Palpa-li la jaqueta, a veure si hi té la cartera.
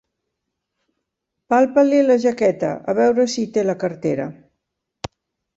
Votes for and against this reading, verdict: 2, 0, accepted